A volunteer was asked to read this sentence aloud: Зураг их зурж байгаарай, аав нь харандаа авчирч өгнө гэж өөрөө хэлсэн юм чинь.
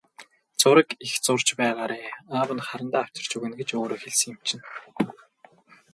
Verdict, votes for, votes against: rejected, 0, 2